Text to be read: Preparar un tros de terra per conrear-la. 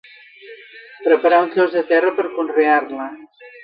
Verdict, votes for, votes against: rejected, 0, 2